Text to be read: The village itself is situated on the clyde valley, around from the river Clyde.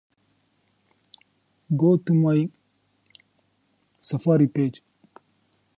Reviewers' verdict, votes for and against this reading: rejected, 0, 2